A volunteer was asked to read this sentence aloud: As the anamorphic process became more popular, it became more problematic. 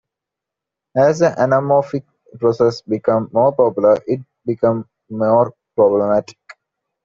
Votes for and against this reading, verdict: 0, 2, rejected